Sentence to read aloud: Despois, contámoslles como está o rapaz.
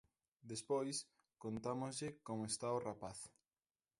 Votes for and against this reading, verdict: 1, 2, rejected